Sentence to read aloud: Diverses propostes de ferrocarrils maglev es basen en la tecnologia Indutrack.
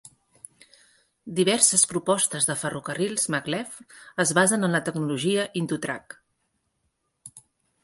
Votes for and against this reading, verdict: 3, 0, accepted